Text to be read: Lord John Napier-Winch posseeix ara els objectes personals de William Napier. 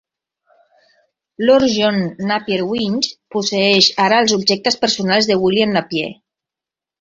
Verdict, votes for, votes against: accepted, 2, 0